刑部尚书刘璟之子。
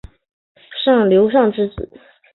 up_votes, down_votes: 0, 3